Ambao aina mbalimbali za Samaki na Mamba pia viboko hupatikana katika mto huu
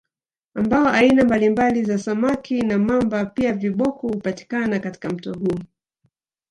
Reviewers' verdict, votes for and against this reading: rejected, 0, 2